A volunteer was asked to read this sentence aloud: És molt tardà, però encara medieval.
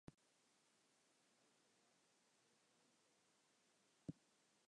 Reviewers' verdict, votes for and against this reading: rejected, 1, 2